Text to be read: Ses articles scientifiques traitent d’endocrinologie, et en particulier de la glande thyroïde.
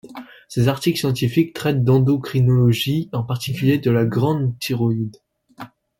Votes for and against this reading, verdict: 0, 2, rejected